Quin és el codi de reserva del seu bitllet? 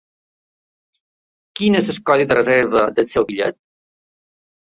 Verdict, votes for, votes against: rejected, 1, 2